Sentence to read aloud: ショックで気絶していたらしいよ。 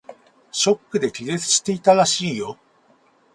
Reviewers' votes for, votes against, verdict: 4, 2, accepted